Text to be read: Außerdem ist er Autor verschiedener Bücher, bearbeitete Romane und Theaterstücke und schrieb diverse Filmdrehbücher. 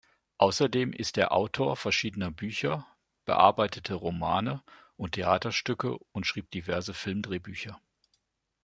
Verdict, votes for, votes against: rejected, 1, 2